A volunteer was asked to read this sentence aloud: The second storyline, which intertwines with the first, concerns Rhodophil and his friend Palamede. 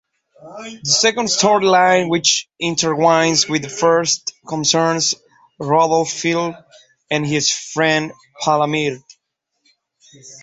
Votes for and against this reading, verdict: 1, 2, rejected